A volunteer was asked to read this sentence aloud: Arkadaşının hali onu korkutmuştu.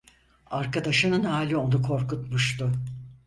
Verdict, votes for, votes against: accepted, 4, 0